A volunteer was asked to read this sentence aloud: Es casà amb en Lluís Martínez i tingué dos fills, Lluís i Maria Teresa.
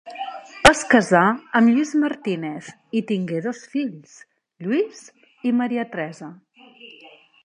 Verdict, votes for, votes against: rejected, 1, 2